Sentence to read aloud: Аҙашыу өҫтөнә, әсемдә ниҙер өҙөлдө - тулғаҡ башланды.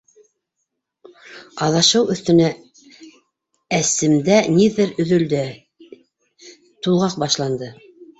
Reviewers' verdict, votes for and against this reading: rejected, 1, 2